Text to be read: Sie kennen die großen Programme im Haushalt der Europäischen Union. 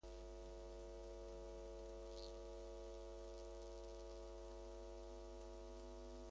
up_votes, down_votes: 0, 2